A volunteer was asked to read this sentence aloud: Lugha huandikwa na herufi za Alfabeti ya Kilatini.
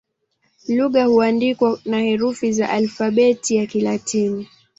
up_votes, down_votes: 0, 2